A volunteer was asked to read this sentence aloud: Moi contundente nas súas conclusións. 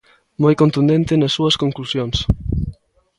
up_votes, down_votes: 2, 0